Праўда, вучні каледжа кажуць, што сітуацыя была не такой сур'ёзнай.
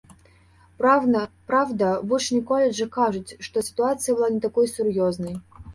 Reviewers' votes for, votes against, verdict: 0, 2, rejected